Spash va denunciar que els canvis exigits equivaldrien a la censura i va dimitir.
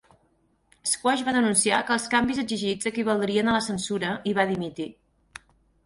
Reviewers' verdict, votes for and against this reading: rejected, 2, 4